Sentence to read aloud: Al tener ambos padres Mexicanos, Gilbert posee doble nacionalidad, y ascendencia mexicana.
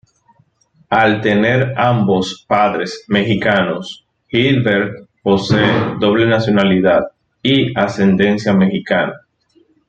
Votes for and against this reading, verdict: 2, 0, accepted